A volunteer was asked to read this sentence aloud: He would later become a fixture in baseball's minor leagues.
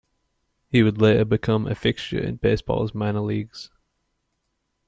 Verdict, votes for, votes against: accepted, 2, 1